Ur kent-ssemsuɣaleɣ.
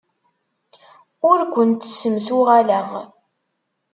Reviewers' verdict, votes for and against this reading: accepted, 2, 0